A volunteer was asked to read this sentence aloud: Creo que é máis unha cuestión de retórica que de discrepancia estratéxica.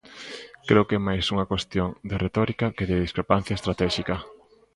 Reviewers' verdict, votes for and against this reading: rejected, 1, 2